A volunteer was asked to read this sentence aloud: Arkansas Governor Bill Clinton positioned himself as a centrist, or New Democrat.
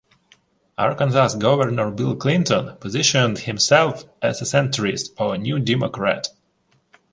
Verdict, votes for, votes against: rejected, 1, 2